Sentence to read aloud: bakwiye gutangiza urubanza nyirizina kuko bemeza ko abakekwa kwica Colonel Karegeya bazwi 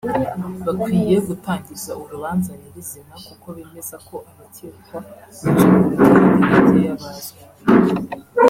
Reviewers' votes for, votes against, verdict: 0, 2, rejected